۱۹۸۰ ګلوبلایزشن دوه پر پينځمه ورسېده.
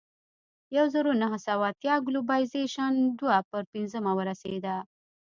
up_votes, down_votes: 0, 2